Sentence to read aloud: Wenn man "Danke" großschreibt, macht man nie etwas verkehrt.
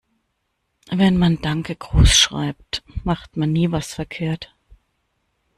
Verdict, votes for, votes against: rejected, 1, 2